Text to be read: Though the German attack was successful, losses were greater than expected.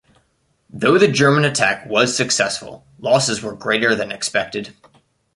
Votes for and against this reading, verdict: 2, 0, accepted